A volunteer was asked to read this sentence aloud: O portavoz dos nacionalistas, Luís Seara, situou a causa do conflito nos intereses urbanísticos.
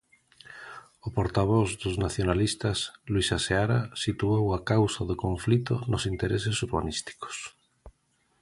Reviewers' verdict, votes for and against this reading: rejected, 0, 2